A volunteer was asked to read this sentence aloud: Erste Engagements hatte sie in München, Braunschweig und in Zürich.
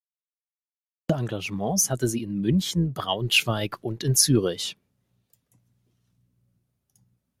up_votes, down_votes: 0, 2